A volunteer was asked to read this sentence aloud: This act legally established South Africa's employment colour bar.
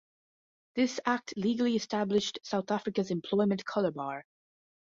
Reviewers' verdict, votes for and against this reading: accepted, 2, 0